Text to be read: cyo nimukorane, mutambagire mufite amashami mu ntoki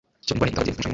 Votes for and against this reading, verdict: 1, 2, rejected